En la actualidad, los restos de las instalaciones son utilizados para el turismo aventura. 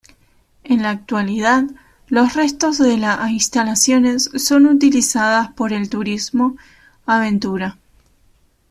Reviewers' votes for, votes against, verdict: 0, 2, rejected